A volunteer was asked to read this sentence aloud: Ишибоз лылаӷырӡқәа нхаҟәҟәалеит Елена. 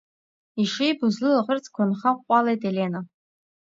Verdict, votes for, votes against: accepted, 2, 0